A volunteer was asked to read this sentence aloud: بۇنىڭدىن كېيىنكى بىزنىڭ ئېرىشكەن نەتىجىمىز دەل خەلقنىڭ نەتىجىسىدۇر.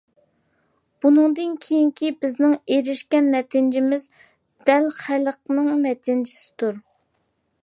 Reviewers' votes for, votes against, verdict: 2, 0, accepted